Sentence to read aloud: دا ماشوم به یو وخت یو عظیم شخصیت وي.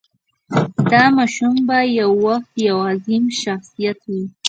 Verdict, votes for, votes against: rejected, 0, 2